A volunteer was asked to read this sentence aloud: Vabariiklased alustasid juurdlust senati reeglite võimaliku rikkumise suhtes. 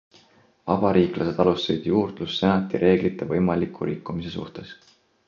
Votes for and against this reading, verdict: 2, 1, accepted